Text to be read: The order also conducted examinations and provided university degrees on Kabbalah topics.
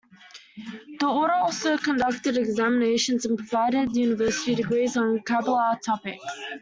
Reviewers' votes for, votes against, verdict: 1, 2, rejected